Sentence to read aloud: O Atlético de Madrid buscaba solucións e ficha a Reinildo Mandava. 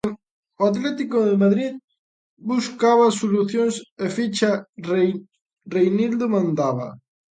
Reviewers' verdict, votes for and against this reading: rejected, 0, 2